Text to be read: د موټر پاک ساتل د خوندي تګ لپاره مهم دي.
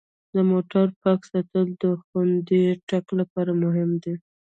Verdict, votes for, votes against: rejected, 1, 2